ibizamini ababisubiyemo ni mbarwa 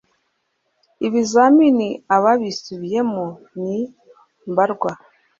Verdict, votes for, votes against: accepted, 2, 0